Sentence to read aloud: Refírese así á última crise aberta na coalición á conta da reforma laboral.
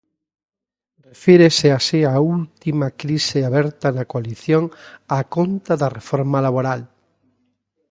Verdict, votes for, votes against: rejected, 0, 2